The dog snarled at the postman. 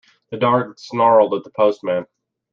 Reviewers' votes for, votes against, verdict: 0, 2, rejected